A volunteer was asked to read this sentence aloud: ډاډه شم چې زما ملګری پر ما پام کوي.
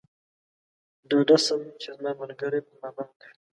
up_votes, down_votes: 2, 0